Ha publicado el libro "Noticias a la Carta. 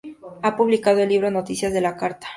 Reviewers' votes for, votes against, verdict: 2, 0, accepted